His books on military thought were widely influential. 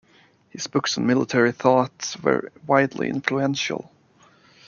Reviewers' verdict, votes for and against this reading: accepted, 2, 0